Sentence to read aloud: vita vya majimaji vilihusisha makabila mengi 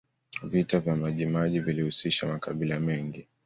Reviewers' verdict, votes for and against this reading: accepted, 2, 0